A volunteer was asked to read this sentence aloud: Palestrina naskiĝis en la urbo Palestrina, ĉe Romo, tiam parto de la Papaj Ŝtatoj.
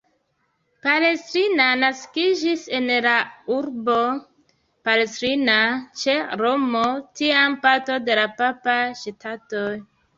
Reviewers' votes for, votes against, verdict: 1, 2, rejected